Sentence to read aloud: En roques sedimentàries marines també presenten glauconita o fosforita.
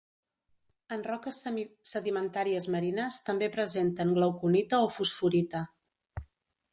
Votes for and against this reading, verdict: 1, 2, rejected